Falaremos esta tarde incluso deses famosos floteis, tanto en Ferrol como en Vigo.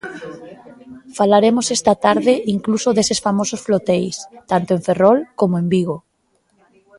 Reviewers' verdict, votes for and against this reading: rejected, 0, 2